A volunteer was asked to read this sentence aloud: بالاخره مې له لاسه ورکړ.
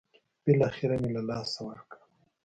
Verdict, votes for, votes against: accepted, 2, 0